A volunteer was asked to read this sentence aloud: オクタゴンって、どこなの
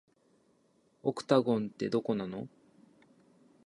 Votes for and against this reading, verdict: 2, 0, accepted